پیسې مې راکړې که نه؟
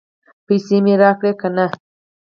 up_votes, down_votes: 2, 4